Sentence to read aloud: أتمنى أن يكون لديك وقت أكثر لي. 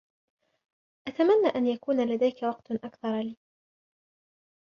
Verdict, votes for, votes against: accepted, 2, 0